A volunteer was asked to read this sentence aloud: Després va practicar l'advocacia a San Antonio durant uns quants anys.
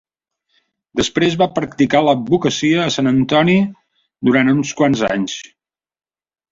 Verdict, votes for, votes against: rejected, 0, 2